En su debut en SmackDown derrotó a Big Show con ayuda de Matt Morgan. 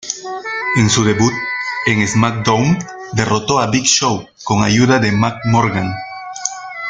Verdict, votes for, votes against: rejected, 0, 2